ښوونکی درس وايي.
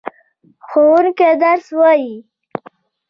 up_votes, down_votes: 2, 1